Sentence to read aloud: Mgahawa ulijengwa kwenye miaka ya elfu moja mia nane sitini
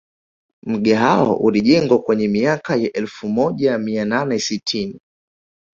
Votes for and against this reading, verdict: 1, 2, rejected